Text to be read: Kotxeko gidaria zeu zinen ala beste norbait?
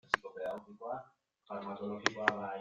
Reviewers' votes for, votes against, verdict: 0, 2, rejected